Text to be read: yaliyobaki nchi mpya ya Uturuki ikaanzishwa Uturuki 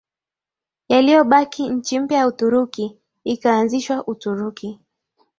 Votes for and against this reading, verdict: 6, 2, accepted